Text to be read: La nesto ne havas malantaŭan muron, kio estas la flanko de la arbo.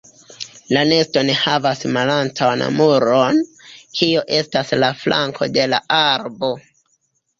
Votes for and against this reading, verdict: 1, 2, rejected